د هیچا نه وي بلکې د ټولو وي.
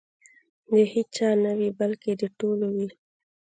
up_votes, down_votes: 2, 1